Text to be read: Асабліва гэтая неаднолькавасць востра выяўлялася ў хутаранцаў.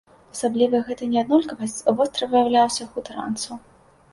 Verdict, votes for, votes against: rejected, 1, 2